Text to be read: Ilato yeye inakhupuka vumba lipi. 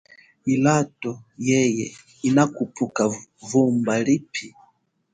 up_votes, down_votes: 1, 2